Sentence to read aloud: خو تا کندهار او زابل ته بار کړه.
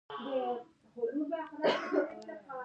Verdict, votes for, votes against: rejected, 1, 2